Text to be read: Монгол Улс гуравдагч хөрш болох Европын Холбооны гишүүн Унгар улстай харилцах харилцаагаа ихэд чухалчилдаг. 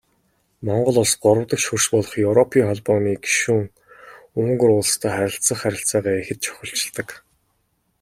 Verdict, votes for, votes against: accepted, 2, 0